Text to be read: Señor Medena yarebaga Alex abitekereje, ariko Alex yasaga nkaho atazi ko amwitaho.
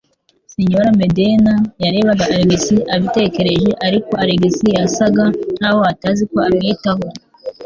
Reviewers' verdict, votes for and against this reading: rejected, 1, 2